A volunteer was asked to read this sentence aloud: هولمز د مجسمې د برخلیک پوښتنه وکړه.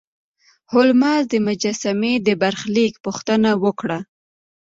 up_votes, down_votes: 2, 0